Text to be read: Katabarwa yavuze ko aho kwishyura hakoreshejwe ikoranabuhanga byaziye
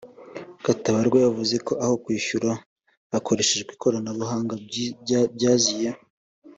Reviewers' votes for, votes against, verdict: 1, 2, rejected